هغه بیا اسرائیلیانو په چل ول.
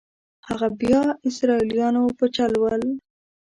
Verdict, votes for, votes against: rejected, 1, 2